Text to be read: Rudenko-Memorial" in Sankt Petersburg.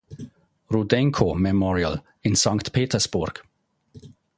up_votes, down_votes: 2, 0